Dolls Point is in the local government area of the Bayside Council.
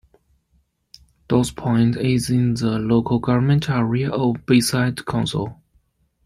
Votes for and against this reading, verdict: 0, 2, rejected